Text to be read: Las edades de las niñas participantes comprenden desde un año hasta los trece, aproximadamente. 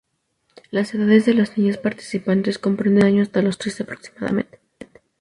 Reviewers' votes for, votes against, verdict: 0, 2, rejected